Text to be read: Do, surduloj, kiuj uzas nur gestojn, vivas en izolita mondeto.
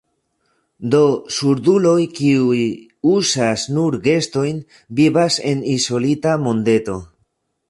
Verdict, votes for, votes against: accepted, 2, 0